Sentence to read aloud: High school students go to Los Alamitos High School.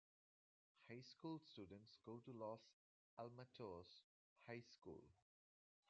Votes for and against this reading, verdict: 1, 2, rejected